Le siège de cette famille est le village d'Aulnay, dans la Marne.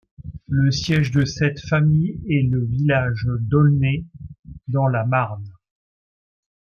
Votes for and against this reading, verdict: 2, 0, accepted